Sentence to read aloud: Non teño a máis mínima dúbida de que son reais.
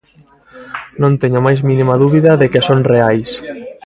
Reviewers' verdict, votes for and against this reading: rejected, 1, 2